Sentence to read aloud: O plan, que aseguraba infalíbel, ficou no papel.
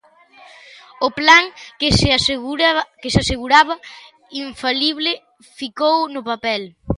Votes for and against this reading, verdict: 0, 2, rejected